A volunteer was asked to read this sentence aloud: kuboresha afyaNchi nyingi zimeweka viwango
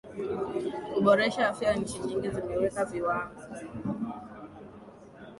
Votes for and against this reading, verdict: 2, 1, accepted